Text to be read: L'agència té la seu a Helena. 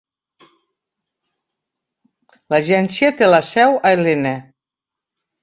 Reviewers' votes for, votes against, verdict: 2, 0, accepted